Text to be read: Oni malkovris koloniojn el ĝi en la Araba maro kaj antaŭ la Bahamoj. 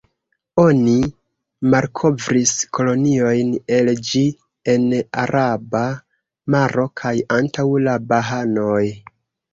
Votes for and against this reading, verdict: 0, 2, rejected